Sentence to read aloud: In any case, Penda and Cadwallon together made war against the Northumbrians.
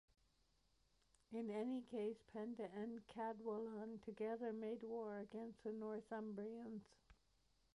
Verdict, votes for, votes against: rejected, 0, 2